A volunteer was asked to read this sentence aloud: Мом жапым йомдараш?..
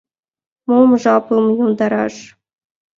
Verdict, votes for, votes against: accepted, 2, 1